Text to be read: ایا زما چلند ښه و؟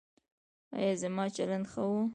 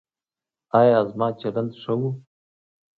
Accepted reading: second